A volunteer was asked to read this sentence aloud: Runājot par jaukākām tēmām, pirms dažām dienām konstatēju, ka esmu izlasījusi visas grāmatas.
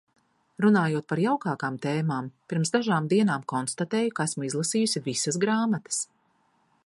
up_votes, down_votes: 2, 0